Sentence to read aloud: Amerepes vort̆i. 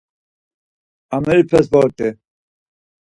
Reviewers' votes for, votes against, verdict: 4, 0, accepted